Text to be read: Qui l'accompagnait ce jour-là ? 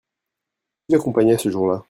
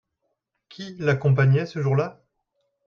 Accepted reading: second